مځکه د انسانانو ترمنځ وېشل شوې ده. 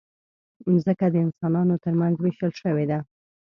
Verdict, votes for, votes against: accepted, 2, 0